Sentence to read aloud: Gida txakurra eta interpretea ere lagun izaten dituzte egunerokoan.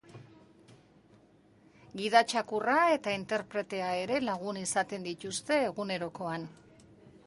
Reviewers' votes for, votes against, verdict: 4, 0, accepted